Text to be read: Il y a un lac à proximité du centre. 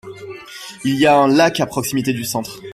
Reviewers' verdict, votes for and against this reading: accepted, 2, 1